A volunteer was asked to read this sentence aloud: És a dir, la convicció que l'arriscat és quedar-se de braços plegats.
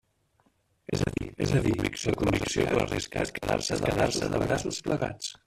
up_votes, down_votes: 0, 2